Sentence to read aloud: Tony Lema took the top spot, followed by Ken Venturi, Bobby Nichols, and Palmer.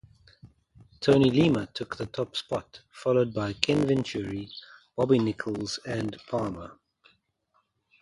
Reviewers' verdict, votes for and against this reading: accepted, 2, 0